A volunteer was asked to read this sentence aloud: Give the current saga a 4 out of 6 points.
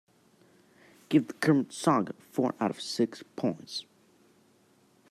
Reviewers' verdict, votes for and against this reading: rejected, 0, 2